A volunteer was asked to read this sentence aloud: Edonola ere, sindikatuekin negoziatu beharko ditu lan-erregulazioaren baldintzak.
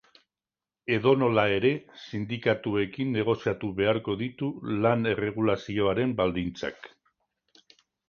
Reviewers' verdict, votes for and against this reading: accepted, 2, 0